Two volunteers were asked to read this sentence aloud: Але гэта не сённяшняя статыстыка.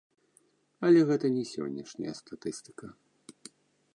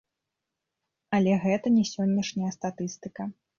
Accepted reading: second